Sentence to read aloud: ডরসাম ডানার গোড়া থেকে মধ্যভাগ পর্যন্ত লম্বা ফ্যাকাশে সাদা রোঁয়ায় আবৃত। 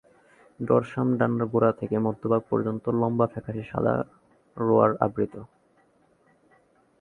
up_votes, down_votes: 1, 6